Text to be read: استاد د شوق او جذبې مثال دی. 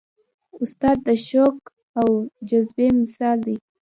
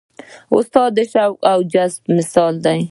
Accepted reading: second